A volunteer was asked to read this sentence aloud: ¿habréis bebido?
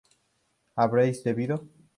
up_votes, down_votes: 2, 0